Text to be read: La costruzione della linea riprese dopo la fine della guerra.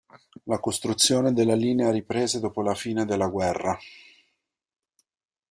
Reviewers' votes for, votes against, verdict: 2, 0, accepted